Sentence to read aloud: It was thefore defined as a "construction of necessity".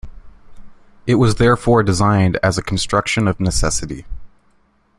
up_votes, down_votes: 0, 2